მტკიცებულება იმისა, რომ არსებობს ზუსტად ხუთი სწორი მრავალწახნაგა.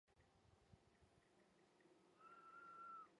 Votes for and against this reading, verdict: 0, 2, rejected